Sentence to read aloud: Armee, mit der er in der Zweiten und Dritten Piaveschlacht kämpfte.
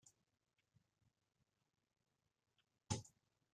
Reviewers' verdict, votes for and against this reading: rejected, 0, 2